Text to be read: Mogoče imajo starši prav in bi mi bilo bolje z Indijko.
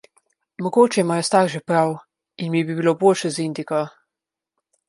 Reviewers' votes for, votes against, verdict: 0, 2, rejected